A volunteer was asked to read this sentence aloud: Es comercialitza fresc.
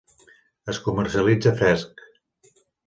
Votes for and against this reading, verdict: 2, 1, accepted